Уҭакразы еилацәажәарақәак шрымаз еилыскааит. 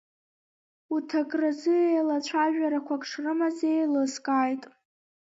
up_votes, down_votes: 0, 2